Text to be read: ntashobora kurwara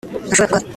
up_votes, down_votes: 1, 2